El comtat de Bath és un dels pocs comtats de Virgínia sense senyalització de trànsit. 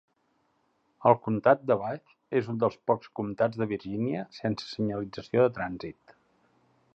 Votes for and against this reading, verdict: 2, 0, accepted